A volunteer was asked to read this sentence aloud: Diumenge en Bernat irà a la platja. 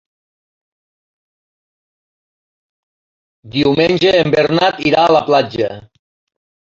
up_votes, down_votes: 2, 0